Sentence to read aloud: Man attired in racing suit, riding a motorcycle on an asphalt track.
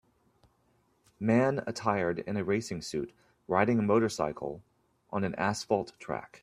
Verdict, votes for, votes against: accepted, 2, 0